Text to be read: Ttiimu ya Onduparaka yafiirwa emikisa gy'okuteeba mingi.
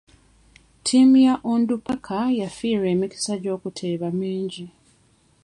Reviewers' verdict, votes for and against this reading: accepted, 2, 0